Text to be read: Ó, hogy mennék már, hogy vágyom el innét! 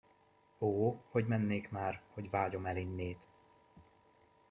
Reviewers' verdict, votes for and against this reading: accepted, 2, 0